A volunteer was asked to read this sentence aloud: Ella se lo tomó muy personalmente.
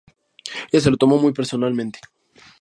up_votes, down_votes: 2, 0